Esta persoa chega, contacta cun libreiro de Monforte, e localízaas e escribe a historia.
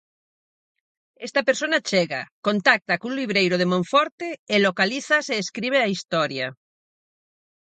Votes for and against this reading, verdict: 0, 4, rejected